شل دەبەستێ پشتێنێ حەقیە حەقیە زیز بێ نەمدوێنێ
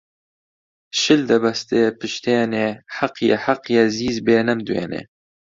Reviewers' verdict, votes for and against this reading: accepted, 2, 0